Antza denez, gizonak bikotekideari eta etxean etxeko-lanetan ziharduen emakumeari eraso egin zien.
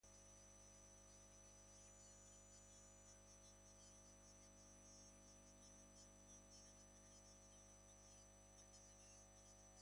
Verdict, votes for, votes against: rejected, 0, 2